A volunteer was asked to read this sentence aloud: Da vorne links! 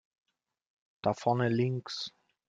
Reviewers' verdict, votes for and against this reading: accepted, 2, 0